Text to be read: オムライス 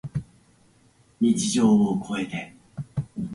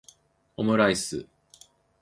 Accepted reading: second